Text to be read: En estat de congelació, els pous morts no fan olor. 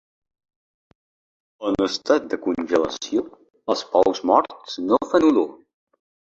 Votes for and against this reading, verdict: 2, 1, accepted